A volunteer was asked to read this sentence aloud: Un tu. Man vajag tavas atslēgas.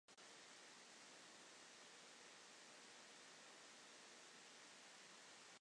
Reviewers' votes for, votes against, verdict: 0, 2, rejected